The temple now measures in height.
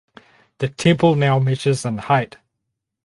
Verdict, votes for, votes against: accepted, 6, 2